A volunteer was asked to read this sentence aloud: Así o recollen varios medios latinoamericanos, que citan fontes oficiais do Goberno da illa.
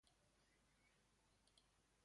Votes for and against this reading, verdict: 0, 2, rejected